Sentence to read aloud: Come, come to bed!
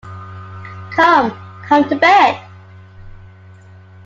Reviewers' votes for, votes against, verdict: 2, 0, accepted